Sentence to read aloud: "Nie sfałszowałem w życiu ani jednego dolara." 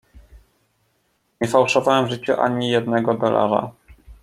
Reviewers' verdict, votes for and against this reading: rejected, 0, 2